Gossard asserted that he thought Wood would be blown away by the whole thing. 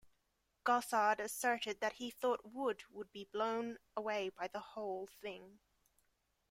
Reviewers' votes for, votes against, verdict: 2, 0, accepted